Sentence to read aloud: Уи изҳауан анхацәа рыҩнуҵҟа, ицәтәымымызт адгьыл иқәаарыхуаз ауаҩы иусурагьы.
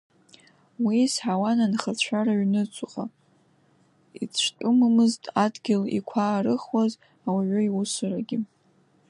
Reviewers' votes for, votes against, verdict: 1, 2, rejected